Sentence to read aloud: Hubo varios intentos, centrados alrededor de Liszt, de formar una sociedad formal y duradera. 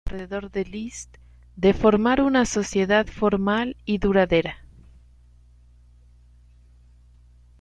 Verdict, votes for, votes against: rejected, 0, 3